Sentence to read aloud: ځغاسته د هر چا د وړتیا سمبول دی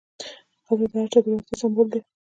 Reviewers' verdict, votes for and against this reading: accepted, 2, 0